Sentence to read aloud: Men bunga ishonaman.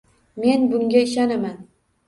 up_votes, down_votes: 2, 0